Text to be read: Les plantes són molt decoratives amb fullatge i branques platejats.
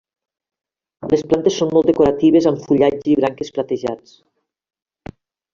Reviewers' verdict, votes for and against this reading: rejected, 1, 2